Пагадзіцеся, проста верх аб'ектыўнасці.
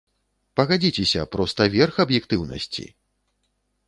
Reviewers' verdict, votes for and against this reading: accepted, 2, 0